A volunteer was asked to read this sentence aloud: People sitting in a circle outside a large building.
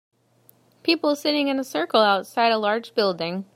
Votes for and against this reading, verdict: 2, 0, accepted